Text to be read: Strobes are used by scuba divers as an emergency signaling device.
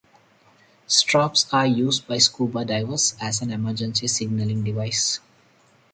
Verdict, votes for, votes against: accepted, 4, 0